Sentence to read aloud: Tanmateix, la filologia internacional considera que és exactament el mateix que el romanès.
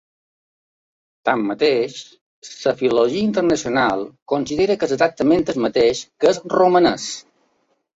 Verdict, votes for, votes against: rejected, 0, 2